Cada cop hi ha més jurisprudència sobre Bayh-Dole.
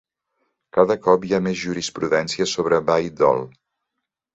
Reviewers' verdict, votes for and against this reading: accepted, 3, 0